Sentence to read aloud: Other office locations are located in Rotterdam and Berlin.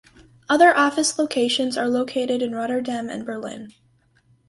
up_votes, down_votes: 4, 0